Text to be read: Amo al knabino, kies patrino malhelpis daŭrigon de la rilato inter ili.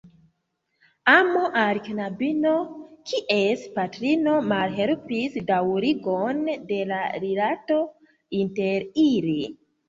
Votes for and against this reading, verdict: 2, 1, accepted